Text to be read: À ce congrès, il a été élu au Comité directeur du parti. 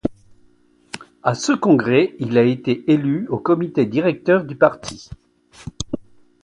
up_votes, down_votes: 2, 1